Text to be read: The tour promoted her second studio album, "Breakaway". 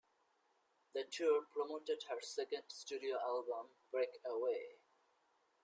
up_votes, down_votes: 2, 0